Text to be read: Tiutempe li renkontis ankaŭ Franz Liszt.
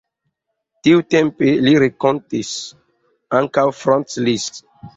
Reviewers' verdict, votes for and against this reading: accepted, 2, 0